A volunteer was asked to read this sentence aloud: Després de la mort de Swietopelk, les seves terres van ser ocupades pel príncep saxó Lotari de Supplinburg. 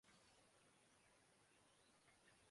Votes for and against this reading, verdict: 0, 2, rejected